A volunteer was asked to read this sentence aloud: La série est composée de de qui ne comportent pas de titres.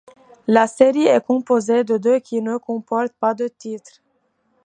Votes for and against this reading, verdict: 2, 1, accepted